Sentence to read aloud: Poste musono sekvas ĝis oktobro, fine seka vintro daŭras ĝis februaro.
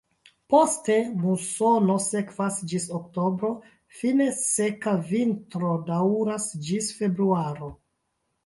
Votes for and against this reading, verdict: 0, 2, rejected